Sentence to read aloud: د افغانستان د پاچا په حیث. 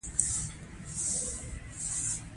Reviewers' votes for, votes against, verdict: 1, 2, rejected